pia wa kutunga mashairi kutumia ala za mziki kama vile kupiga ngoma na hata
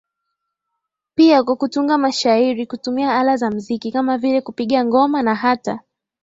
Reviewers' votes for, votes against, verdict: 11, 4, accepted